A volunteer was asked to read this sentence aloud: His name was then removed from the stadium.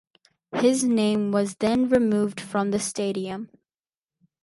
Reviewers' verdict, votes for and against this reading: accepted, 4, 0